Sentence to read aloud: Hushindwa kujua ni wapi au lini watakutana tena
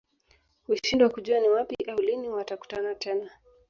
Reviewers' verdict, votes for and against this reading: accepted, 2, 1